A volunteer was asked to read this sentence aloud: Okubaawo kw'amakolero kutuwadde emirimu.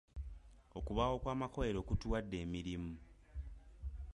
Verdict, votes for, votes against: accepted, 2, 1